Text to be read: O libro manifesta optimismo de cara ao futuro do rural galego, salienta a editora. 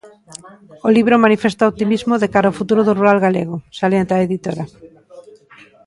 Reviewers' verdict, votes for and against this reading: accepted, 2, 0